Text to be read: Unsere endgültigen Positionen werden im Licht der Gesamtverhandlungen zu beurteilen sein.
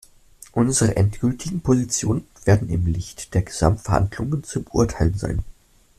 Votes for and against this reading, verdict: 2, 0, accepted